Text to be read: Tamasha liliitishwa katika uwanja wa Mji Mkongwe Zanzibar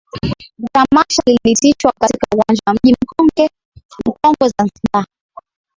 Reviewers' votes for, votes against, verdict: 0, 2, rejected